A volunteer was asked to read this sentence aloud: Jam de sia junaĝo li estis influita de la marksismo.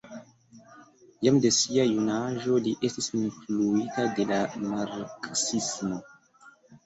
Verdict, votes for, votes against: accepted, 2, 0